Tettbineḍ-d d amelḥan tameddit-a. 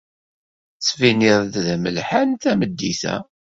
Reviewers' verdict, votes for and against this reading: accepted, 2, 0